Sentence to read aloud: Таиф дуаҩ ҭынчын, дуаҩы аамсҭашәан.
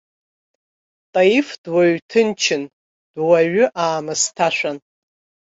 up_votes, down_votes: 1, 2